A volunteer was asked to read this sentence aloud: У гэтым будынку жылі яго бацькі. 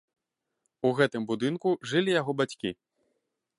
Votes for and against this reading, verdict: 2, 3, rejected